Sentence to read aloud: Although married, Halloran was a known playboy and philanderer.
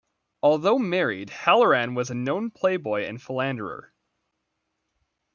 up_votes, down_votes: 2, 0